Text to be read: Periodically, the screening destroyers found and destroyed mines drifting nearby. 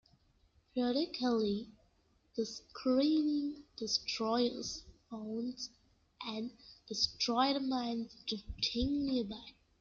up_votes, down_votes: 0, 2